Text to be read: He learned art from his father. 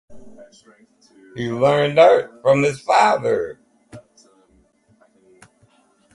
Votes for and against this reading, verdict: 4, 0, accepted